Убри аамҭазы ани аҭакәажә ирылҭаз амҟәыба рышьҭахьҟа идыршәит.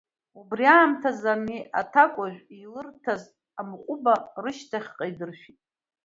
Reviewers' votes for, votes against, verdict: 1, 2, rejected